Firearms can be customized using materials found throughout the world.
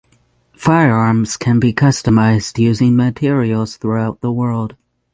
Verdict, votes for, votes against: rejected, 3, 6